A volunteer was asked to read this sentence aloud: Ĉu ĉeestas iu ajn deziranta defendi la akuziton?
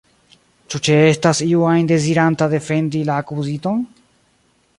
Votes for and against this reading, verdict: 2, 0, accepted